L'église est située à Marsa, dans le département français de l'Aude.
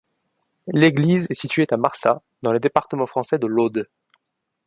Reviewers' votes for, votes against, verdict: 0, 2, rejected